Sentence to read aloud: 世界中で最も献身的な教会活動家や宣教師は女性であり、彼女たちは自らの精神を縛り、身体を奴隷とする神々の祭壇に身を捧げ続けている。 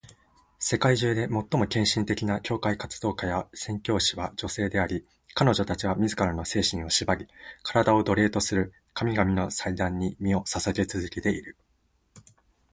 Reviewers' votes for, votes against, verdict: 3, 6, rejected